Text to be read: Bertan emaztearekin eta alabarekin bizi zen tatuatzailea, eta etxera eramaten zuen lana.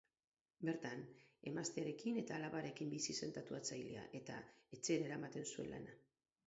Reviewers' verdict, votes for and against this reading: accepted, 12, 4